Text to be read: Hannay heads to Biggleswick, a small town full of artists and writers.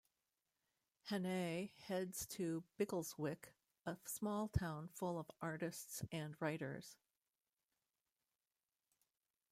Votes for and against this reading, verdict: 2, 1, accepted